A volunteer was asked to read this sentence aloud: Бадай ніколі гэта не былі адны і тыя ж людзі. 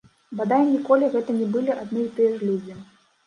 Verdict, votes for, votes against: accepted, 2, 0